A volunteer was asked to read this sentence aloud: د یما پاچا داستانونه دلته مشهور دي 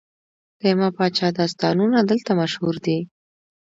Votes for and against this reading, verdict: 2, 0, accepted